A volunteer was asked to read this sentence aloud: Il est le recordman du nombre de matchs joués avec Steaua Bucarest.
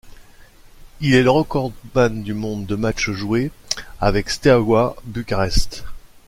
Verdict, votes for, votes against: rejected, 1, 2